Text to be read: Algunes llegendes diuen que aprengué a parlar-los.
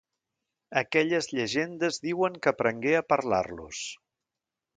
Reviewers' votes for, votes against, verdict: 1, 2, rejected